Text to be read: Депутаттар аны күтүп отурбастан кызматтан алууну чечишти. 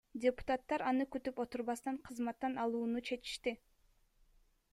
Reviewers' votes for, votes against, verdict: 2, 1, accepted